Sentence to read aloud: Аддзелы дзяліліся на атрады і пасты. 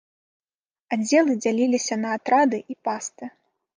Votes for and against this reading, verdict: 0, 2, rejected